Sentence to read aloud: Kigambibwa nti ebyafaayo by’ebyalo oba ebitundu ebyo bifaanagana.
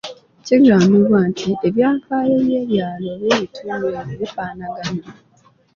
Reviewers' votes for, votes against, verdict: 2, 0, accepted